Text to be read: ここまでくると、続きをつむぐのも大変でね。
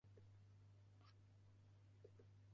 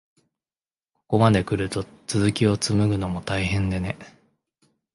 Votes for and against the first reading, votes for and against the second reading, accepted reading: 0, 4, 2, 0, second